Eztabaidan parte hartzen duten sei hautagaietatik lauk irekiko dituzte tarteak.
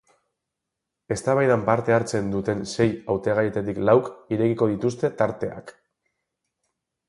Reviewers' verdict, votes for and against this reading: accepted, 4, 0